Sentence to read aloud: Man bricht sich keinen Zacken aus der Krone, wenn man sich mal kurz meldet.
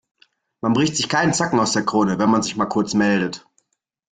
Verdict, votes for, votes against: accepted, 2, 0